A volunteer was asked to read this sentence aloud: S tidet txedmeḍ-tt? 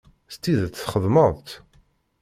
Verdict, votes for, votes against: accepted, 2, 0